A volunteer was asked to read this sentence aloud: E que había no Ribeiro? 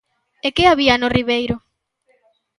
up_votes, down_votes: 2, 0